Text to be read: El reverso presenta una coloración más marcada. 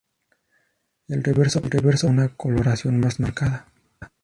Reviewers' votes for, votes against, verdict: 0, 4, rejected